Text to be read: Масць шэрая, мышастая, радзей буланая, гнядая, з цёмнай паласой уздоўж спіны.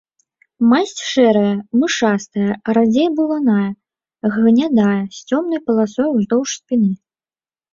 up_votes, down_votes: 1, 3